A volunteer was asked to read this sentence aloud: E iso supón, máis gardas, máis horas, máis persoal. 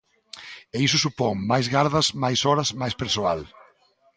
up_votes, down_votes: 2, 0